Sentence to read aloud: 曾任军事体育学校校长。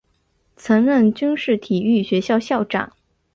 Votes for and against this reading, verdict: 2, 0, accepted